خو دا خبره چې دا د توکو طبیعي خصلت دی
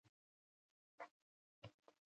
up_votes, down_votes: 1, 2